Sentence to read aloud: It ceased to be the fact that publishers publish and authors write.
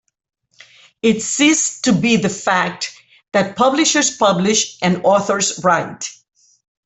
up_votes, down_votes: 2, 0